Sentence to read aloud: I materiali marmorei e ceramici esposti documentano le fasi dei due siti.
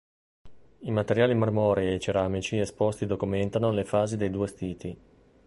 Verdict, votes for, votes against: rejected, 1, 2